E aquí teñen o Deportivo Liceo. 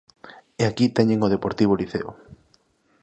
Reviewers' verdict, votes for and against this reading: accepted, 2, 0